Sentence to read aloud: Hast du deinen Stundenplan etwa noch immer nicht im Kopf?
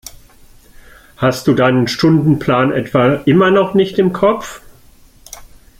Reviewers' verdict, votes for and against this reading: rejected, 1, 2